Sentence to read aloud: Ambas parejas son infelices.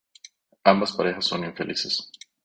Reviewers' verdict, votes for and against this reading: accepted, 2, 0